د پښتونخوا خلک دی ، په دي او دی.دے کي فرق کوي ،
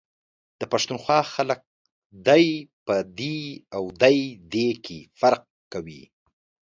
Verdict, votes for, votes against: accepted, 2, 0